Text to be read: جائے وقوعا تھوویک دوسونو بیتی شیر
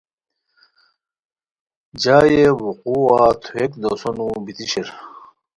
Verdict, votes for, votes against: accepted, 2, 0